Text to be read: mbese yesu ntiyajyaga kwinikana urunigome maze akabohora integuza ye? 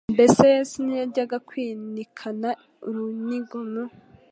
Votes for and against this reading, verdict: 1, 2, rejected